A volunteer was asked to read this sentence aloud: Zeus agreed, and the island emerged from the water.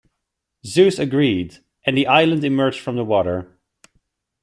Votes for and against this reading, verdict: 0, 2, rejected